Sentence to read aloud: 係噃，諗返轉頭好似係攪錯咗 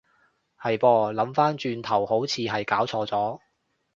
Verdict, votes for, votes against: accepted, 2, 0